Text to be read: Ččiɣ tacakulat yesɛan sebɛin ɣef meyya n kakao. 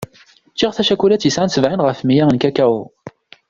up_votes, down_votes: 2, 0